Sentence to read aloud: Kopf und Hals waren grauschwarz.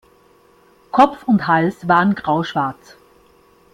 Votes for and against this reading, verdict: 2, 0, accepted